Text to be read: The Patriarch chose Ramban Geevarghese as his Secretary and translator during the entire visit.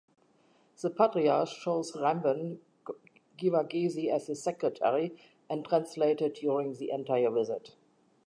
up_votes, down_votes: 1, 2